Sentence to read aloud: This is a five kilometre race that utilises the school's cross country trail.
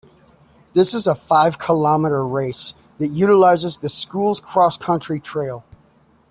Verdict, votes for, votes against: accepted, 2, 0